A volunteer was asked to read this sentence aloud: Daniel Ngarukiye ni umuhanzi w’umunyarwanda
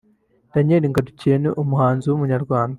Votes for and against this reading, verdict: 1, 2, rejected